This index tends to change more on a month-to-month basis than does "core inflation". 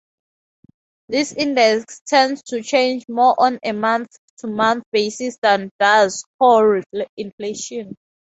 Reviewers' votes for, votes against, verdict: 2, 2, rejected